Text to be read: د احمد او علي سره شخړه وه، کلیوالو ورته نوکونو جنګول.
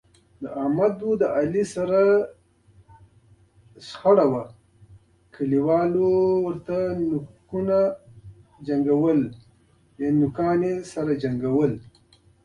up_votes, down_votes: 1, 2